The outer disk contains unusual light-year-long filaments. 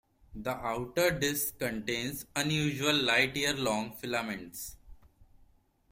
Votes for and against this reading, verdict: 2, 0, accepted